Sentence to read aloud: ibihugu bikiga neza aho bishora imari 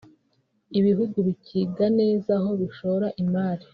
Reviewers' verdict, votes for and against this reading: rejected, 0, 2